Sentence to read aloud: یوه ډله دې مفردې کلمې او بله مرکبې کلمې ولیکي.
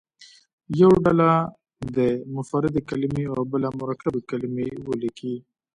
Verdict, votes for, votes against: accepted, 3, 0